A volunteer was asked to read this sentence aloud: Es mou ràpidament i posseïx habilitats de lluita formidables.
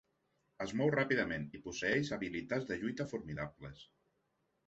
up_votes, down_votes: 2, 0